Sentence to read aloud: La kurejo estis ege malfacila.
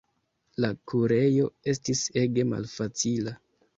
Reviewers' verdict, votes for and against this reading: accepted, 2, 0